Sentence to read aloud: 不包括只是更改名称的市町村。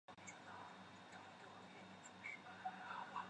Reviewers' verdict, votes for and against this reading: rejected, 0, 5